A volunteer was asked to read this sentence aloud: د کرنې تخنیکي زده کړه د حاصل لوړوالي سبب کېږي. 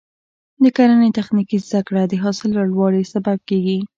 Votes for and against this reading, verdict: 2, 0, accepted